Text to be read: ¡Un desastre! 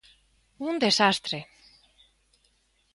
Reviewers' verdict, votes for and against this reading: accepted, 2, 0